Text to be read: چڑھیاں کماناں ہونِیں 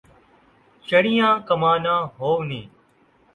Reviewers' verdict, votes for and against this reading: accepted, 2, 0